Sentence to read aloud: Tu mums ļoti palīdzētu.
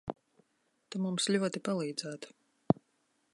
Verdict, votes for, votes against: accepted, 2, 0